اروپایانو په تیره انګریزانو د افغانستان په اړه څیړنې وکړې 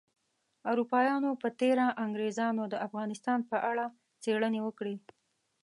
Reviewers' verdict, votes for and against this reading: accepted, 2, 1